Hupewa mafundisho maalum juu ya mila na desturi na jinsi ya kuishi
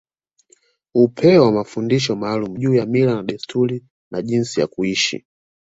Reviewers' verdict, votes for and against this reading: accepted, 2, 0